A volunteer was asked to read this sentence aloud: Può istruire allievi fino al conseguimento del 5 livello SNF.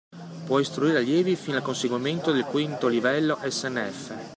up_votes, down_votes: 0, 2